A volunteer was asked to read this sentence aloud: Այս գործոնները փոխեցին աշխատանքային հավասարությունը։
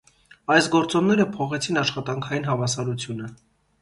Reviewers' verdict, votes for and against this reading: accepted, 2, 0